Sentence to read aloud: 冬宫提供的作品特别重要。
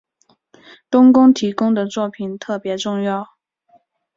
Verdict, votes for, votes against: accepted, 6, 0